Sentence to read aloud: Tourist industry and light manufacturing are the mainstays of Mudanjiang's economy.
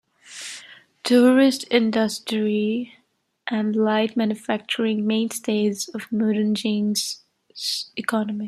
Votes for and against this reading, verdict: 1, 2, rejected